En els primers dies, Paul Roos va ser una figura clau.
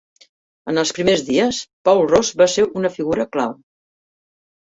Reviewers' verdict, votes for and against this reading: rejected, 1, 2